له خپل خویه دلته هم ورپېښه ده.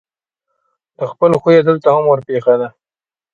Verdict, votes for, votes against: accepted, 2, 0